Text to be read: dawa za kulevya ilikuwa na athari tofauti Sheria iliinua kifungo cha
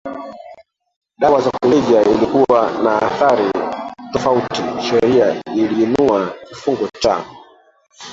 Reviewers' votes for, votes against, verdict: 0, 3, rejected